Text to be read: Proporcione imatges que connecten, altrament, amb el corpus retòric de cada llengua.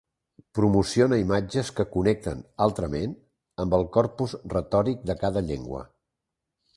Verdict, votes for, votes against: rejected, 2, 3